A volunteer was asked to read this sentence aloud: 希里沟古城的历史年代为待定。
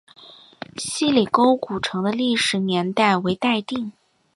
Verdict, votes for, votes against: accepted, 6, 0